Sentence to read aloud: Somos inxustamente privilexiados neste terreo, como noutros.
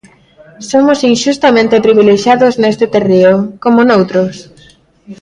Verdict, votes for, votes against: rejected, 1, 2